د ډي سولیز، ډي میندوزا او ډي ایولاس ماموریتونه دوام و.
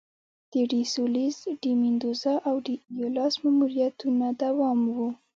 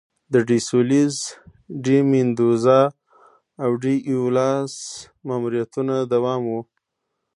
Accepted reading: second